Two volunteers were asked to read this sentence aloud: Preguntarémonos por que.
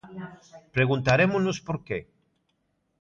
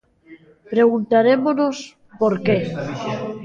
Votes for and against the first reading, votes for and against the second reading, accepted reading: 2, 0, 1, 2, first